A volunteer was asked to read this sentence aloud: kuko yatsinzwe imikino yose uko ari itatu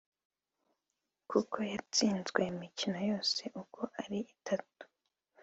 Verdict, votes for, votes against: rejected, 0, 2